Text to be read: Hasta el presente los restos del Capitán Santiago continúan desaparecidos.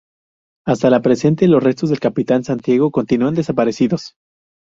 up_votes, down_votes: 2, 2